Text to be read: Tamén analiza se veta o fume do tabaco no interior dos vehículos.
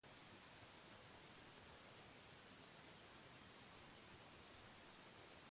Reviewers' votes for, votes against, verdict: 0, 2, rejected